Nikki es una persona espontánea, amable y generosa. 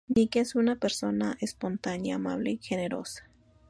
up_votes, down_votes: 4, 0